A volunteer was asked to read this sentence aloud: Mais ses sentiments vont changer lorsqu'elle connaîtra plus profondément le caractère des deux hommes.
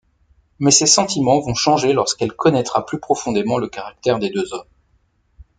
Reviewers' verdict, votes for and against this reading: accepted, 2, 0